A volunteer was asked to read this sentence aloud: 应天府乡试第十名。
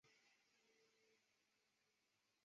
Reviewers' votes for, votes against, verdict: 1, 4, rejected